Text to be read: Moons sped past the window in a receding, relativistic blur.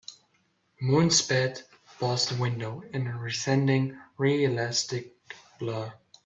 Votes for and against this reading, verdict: 0, 3, rejected